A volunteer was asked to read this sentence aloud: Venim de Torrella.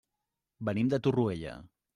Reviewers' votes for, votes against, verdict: 0, 2, rejected